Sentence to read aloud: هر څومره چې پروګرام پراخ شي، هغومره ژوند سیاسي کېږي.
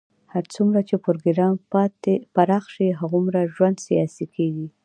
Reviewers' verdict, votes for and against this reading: accepted, 2, 1